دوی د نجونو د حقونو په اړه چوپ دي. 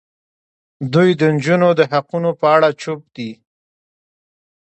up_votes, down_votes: 2, 0